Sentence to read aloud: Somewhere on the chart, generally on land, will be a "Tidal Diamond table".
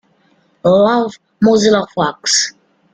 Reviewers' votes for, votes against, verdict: 0, 2, rejected